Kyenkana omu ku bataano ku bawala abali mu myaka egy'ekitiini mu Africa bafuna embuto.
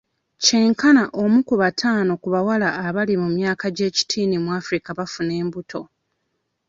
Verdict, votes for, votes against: accepted, 2, 0